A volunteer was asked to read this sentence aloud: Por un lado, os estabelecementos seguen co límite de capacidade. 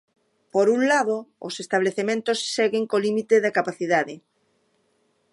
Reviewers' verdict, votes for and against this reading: rejected, 0, 2